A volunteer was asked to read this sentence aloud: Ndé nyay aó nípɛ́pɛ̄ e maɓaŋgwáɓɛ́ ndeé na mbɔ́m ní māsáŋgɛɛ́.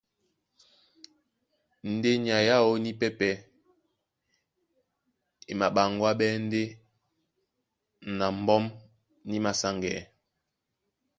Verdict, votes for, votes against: accepted, 2, 0